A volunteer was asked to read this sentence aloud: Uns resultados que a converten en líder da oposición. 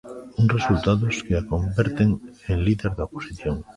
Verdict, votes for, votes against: rejected, 1, 2